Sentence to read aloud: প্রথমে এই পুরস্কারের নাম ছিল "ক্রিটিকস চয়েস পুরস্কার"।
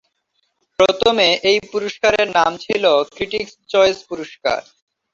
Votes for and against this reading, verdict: 2, 1, accepted